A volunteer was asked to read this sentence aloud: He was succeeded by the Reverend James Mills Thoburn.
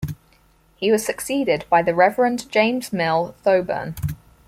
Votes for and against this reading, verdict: 0, 4, rejected